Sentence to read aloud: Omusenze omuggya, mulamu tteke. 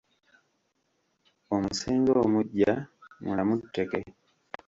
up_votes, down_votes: 1, 2